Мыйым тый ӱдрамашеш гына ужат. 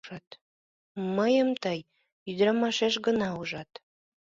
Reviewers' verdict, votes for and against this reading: rejected, 0, 2